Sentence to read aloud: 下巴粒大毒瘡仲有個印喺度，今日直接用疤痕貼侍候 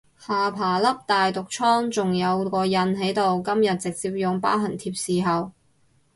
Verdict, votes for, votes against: rejected, 0, 2